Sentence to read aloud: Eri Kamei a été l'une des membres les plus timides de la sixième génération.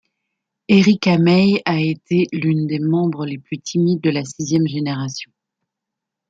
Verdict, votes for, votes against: accepted, 2, 0